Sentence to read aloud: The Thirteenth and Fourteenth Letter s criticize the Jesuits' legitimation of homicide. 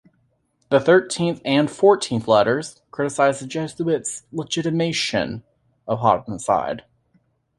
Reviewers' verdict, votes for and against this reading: rejected, 0, 2